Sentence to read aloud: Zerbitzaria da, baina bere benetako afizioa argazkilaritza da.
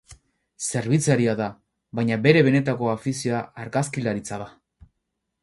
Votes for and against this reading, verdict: 0, 2, rejected